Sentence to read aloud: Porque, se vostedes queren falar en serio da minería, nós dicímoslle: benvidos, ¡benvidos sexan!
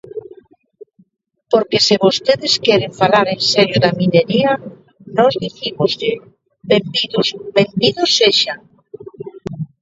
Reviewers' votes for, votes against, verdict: 0, 2, rejected